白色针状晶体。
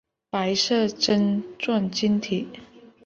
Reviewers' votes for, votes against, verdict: 2, 0, accepted